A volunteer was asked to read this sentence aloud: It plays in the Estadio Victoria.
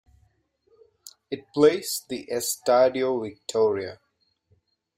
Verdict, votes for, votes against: rejected, 1, 2